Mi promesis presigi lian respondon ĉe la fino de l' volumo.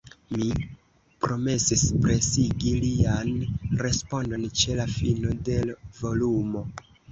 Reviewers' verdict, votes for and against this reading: rejected, 0, 2